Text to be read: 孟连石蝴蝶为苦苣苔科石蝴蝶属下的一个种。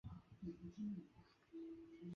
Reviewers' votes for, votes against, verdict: 0, 4, rejected